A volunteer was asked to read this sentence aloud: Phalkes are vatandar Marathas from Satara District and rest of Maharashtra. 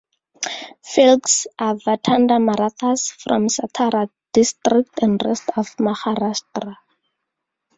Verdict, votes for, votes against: accepted, 2, 0